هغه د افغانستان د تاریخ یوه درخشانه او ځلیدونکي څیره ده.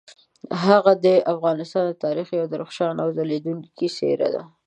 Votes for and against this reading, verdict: 2, 0, accepted